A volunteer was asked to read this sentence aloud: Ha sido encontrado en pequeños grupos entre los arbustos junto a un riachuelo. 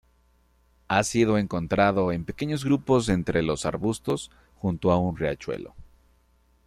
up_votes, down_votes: 2, 0